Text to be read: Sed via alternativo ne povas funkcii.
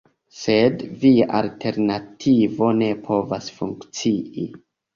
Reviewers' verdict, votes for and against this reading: accepted, 2, 1